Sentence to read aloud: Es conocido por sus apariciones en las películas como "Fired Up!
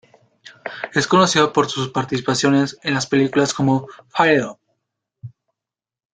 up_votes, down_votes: 1, 2